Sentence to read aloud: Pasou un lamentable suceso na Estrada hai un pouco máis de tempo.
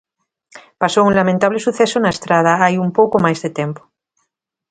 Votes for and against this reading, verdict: 2, 0, accepted